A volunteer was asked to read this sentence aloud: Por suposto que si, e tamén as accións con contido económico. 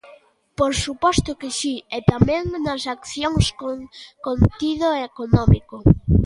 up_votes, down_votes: 1, 2